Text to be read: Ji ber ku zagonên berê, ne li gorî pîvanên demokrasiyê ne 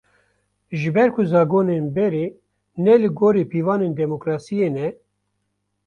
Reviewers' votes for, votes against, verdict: 2, 0, accepted